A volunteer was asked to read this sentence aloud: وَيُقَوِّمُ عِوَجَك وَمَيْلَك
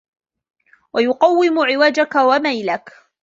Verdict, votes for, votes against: accepted, 2, 0